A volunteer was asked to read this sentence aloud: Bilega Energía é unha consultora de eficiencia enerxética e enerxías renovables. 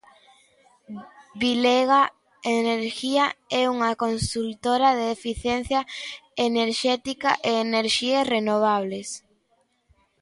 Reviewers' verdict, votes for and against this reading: accepted, 2, 0